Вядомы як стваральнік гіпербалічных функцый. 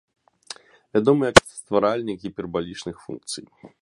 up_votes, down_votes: 2, 0